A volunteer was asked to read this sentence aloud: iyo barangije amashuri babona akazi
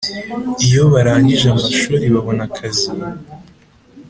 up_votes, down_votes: 2, 0